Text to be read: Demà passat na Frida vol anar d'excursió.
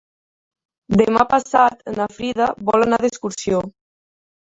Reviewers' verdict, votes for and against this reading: accepted, 3, 0